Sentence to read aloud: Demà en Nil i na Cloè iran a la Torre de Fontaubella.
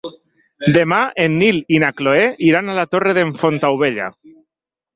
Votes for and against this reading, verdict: 1, 2, rejected